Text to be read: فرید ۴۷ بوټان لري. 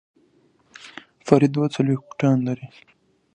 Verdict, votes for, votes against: rejected, 0, 2